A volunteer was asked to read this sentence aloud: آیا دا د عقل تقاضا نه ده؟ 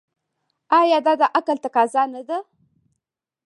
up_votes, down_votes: 1, 2